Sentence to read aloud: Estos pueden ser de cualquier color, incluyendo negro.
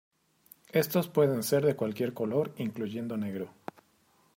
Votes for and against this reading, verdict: 2, 0, accepted